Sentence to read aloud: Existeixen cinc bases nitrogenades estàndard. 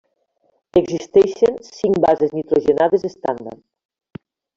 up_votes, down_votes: 1, 2